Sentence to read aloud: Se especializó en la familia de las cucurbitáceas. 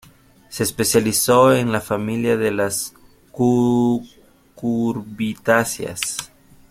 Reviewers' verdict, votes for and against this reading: rejected, 0, 2